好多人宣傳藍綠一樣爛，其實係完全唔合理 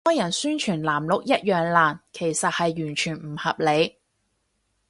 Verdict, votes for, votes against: rejected, 0, 4